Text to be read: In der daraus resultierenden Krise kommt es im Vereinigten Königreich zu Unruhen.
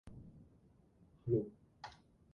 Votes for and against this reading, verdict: 0, 2, rejected